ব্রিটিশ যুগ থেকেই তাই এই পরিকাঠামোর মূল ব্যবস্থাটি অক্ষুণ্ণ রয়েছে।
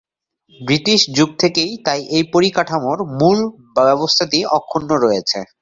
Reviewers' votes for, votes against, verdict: 0, 2, rejected